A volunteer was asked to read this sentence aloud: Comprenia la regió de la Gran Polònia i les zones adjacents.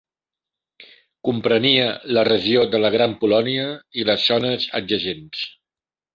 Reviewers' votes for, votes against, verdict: 1, 2, rejected